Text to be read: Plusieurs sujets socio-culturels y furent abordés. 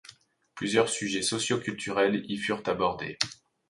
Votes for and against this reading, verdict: 2, 0, accepted